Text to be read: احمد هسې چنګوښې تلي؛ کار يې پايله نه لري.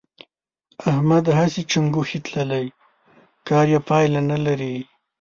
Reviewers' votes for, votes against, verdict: 1, 2, rejected